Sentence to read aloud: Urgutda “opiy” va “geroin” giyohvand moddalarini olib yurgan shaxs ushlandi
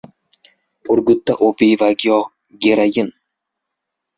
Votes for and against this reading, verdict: 0, 2, rejected